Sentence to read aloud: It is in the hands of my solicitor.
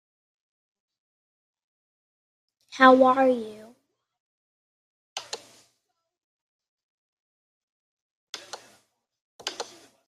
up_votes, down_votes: 0, 2